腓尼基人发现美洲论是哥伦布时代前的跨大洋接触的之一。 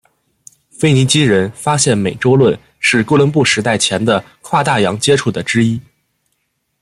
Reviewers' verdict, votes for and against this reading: accepted, 2, 0